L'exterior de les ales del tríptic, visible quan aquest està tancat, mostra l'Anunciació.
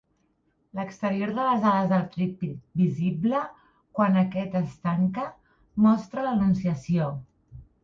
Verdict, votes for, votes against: rejected, 0, 2